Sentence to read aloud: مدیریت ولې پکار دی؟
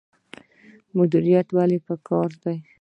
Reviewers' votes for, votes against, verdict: 2, 0, accepted